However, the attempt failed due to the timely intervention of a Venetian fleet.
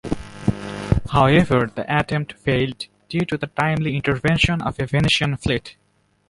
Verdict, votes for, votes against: rejected, 1, 2